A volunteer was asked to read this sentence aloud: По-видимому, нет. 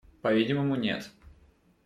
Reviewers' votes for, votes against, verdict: 2, 0, accepted